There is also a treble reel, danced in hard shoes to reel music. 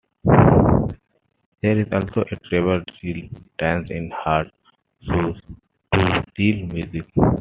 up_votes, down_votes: 1, 2